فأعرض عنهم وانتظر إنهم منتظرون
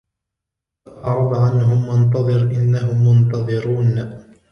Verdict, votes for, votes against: rejected, 1, 2